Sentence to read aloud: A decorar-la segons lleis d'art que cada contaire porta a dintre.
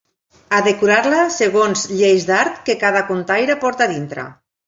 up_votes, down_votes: 2, 1